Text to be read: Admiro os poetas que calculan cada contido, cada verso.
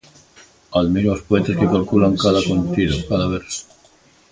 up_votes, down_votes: 2, 0